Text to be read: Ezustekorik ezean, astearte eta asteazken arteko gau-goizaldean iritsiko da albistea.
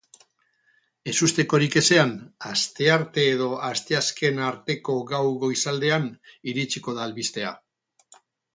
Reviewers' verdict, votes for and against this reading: rejected, 2, 4